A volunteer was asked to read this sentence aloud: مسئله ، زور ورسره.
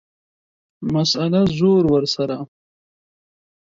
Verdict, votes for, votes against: accepted, 2, 1